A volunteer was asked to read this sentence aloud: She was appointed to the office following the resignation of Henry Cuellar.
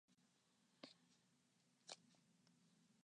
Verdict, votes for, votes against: rejected, 0, 2